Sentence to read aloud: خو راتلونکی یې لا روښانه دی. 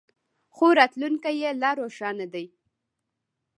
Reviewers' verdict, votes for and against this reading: rejected, 1, 2